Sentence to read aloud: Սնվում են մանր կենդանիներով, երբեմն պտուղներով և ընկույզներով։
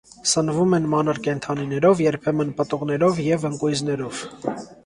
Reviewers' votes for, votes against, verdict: 2, 0, accepted